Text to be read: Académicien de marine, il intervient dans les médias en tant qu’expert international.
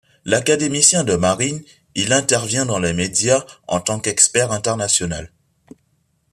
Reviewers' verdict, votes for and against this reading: rejected, 0, 2